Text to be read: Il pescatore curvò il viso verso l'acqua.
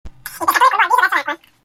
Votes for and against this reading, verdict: 0, 2, rejected